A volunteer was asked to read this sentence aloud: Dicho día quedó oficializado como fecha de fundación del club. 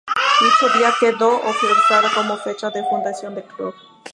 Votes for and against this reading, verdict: 2, 0, accepted